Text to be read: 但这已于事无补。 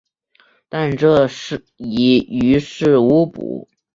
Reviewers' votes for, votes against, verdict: 0, 2, rejected